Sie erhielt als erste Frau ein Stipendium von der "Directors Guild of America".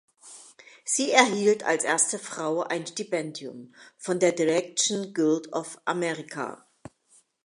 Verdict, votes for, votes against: rejected, 0, 2